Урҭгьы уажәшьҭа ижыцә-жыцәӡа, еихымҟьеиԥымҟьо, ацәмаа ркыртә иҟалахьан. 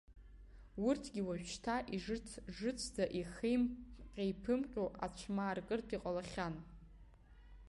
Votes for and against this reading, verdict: 1, 2, rejected